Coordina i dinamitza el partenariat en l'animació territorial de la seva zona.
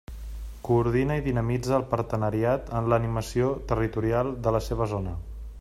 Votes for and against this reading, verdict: 3, 0, accepted